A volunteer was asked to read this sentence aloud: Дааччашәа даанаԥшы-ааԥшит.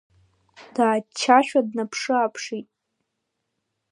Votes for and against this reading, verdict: 1, 2, rejected